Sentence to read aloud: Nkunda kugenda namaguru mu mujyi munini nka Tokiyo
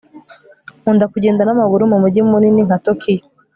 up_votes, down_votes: 3, 0